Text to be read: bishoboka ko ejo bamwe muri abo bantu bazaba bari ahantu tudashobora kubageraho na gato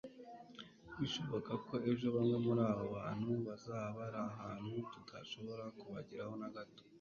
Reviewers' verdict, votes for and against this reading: rejected, 0, 2